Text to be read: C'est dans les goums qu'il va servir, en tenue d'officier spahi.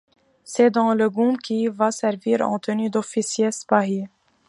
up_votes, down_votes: 1, 2